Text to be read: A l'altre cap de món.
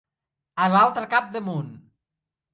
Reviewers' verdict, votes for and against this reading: accepted, 2, 0